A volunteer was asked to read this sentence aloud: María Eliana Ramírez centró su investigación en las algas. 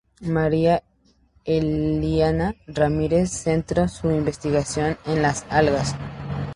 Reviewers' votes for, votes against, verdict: 0, 2, rejected